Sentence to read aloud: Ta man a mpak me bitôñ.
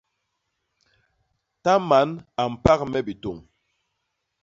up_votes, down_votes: 2, 0